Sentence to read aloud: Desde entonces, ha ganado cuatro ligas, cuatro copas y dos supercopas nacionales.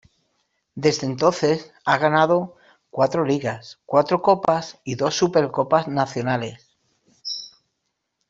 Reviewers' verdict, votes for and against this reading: accepted, 2, 0